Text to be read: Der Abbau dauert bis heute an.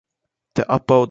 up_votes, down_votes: 0, 2